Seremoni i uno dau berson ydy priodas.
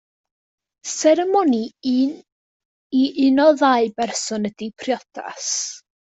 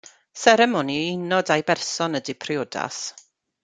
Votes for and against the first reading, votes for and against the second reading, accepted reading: 0, 2, 2, 0, second